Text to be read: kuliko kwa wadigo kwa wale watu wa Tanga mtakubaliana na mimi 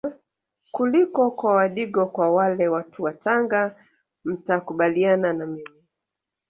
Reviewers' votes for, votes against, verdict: 2, 0, accepted